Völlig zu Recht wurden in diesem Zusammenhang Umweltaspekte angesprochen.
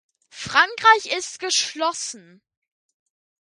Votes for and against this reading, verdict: 0, 2, rejected